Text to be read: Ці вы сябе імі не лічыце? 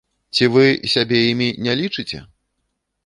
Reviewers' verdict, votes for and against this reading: accepted, 2, 0